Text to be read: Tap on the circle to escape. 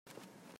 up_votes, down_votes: 0, 2